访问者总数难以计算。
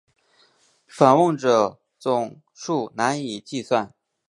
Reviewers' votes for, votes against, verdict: 3, 0, accepted